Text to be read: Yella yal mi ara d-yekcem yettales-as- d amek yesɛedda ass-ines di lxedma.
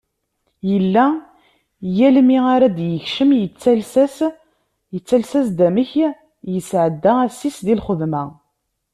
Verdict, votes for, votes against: rejected, 1, 2